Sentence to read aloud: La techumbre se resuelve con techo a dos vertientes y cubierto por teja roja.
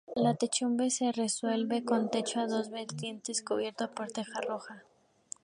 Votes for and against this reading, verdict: 2, 0, accepted